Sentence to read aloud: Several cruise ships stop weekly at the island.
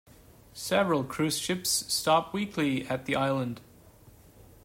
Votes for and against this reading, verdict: 2, 0, accepted